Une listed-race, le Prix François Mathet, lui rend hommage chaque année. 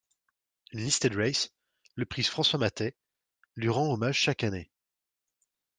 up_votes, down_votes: 1, 2